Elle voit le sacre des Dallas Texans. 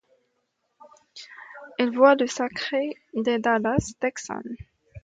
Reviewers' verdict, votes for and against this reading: accepted, 2, 0